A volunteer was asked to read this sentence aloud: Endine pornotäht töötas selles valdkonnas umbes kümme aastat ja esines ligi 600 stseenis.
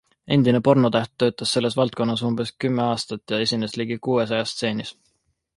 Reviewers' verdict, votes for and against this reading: rejected, 0, 2